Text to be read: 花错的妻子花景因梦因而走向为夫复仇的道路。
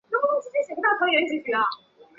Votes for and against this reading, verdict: 0, 5, rejected